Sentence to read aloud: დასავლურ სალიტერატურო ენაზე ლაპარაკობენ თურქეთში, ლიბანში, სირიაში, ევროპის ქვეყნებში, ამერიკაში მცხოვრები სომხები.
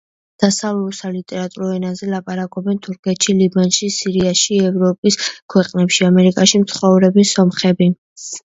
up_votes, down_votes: 1, 2